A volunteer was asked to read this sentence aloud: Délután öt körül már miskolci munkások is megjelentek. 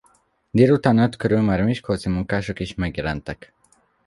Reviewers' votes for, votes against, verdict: 1, 2, rejected